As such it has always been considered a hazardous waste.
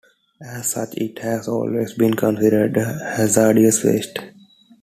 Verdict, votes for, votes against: rejected, 1, 2